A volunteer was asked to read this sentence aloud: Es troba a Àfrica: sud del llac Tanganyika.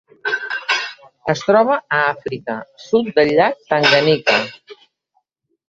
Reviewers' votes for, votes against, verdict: 1, 2, rejected